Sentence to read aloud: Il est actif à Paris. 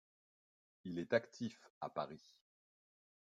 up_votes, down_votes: 1, 2